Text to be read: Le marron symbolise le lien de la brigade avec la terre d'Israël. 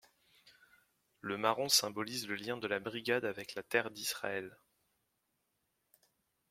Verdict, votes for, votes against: accepted, 2, 1